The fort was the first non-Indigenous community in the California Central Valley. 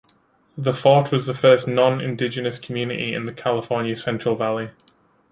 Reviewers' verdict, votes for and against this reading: accepted, 2, 1